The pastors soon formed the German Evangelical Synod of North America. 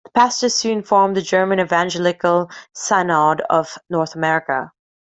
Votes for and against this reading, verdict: 1, 2, rejected